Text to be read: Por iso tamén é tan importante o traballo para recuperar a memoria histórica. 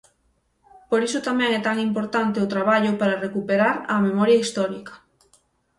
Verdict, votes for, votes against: accepted, 6, 0